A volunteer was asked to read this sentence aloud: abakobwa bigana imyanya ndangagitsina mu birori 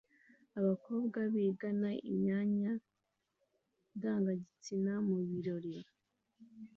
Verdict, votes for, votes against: accepted, 2, 0